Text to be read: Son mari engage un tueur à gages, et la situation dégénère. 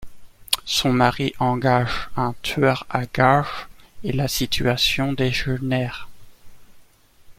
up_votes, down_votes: 0, 2